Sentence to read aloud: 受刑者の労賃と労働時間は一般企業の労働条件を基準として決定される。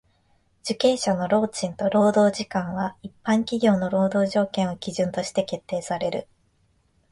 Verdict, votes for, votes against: accepted, 2, 0